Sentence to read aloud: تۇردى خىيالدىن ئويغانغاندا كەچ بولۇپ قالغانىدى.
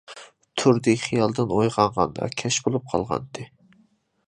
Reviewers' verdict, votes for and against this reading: rejected, 1, 2